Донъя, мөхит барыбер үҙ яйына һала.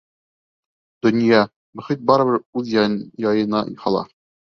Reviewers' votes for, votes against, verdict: 0, 2, rejected